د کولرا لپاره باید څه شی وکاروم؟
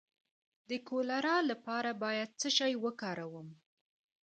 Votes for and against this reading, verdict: 2, 0, accepted